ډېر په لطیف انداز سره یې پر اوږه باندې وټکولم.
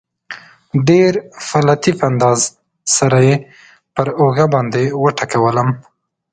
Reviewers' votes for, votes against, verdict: 2, 0, accepted